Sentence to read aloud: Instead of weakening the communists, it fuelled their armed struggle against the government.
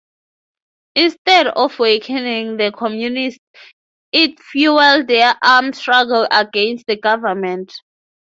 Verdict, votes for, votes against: accepted, 9, 6